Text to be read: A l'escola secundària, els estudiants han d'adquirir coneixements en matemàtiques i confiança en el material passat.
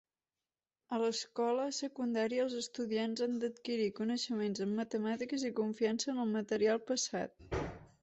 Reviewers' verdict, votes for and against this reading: accepted, 2, 1